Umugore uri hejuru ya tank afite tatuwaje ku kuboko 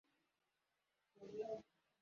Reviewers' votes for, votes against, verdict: 0, 2, rejected